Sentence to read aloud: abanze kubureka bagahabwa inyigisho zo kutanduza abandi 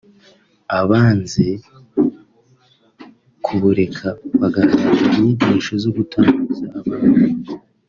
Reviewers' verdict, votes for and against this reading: rejected, 0, 3